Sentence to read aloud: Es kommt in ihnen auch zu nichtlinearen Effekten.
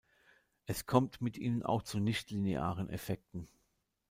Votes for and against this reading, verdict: 1, 3, rejected